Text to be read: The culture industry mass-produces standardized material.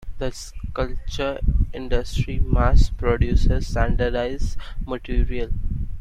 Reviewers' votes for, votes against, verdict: 0, 2, rejected